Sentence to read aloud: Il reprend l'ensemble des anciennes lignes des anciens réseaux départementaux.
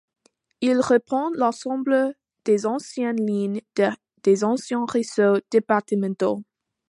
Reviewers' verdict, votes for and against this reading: accepted, 2, 1